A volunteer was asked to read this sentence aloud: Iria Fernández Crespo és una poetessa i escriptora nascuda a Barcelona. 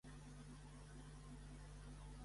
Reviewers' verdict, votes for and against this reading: accepted, 2, 1